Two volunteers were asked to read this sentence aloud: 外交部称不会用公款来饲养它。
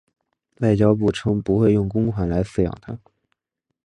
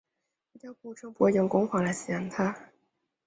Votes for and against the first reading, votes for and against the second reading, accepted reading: 3, 1, 0, 2, first